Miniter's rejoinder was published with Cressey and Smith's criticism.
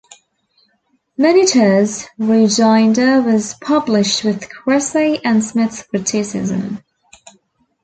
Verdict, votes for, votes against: rejected, 1, 2